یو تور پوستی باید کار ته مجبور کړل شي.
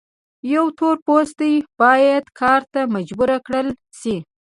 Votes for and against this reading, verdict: 2, 0, accepted